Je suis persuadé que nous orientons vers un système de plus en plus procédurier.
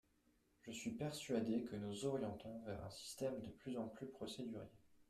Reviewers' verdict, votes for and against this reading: accepted, 2, 0